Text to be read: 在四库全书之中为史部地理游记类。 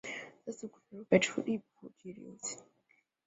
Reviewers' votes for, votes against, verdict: 1, 4, rejected